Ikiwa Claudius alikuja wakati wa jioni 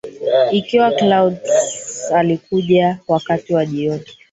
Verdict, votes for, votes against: rejected, 0, 4